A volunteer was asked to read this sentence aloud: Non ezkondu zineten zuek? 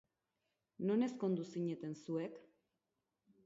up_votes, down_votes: 2, 2